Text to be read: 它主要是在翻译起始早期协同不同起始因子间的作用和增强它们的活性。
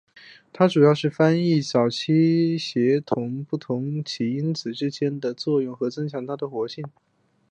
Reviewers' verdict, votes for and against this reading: accepted, 2, 1